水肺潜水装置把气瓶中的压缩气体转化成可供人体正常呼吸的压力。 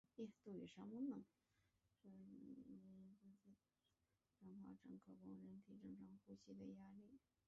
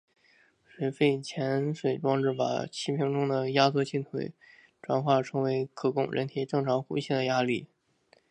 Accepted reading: second